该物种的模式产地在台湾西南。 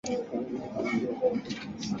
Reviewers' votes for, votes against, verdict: 0, 2, rejected